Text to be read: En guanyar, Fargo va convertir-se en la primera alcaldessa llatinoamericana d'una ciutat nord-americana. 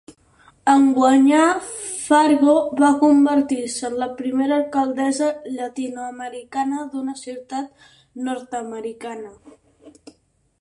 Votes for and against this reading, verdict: 6, 0, accepted